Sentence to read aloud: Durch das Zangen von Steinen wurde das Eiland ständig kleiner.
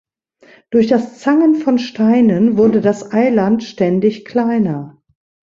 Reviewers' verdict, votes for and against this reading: accepted, 2, 0